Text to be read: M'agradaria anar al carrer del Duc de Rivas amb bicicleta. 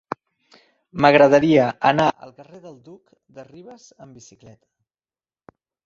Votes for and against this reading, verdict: 0, 2, rejected